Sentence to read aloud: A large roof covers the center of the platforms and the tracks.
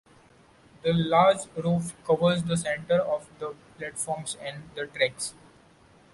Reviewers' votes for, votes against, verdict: 2, 0, accepted